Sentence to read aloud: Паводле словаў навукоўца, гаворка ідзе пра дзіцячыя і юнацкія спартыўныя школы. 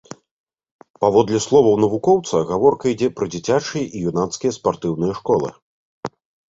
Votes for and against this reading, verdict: 2, 0, accepted